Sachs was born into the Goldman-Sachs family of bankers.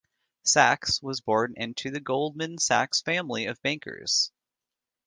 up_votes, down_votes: 2, 0